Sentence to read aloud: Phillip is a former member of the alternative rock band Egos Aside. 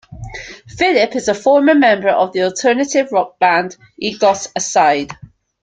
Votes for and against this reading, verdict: 2, 0, accepted